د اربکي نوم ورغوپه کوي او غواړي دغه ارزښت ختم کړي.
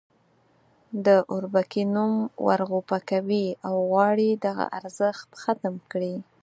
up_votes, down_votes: 2, 4